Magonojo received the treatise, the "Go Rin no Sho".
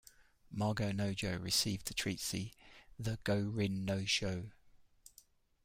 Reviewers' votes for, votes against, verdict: 0, 2, rejected